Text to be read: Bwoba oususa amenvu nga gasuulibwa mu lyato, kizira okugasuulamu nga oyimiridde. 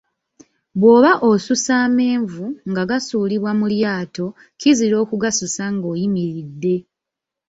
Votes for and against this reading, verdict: 2, 1, accepted